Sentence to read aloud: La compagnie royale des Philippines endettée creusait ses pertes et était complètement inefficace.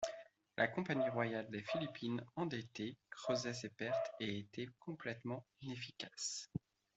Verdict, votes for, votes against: rejected, 0, 2